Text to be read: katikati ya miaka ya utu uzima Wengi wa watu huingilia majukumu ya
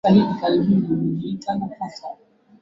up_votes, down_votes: 0, 2